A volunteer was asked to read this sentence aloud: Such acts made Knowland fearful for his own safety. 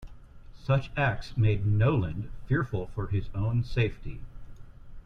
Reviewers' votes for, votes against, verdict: 2, 0, accepted